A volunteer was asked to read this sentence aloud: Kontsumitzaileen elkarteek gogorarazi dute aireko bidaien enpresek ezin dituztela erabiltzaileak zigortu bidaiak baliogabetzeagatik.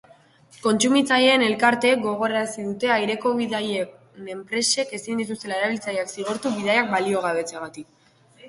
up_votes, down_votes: 2, 0